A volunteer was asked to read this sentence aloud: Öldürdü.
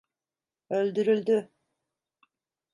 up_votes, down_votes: 0, 2